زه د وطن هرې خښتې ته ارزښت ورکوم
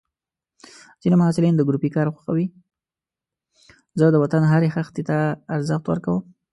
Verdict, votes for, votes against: rejected, 1, 2